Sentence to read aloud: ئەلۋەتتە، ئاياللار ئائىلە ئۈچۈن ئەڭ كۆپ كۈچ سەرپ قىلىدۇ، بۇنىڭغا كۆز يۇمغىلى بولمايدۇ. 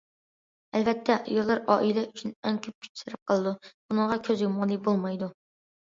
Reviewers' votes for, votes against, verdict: 2, 0, accepted